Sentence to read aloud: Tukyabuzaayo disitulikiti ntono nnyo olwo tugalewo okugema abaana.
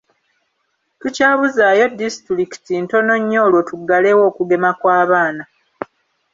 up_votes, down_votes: 1, 2